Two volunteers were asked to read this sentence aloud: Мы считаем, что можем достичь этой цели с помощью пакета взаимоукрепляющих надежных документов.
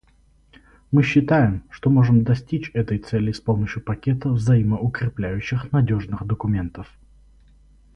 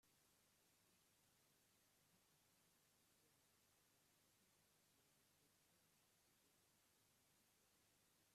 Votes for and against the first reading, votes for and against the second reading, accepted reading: 4, 0, 0, 2, first